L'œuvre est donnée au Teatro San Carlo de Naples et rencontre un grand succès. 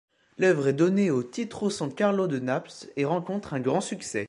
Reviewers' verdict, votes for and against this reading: rejected, 1, 2